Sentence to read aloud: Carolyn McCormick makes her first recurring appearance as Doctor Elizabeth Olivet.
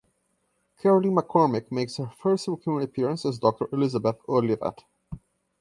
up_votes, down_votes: 0, 2